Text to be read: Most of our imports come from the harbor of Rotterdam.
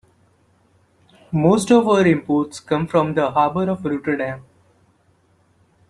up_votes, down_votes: 2, 1